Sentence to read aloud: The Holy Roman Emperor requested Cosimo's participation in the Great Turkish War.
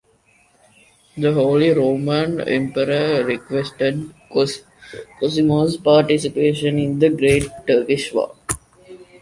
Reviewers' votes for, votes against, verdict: 2, 1, accepted